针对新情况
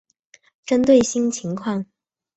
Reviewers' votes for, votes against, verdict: 2, 0, accepted